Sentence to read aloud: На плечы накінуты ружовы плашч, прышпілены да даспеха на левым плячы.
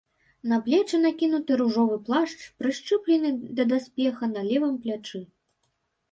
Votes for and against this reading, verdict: 1, 2, rejected